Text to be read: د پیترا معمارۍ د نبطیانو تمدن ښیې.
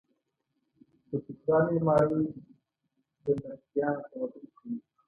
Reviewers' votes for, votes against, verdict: 0, 2, rejected